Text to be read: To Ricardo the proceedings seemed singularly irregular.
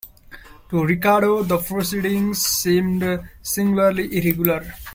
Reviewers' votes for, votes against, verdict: 1, 2, rejected